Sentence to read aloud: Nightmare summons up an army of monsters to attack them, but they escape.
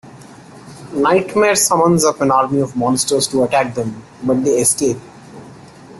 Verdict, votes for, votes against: accepted, 2, 0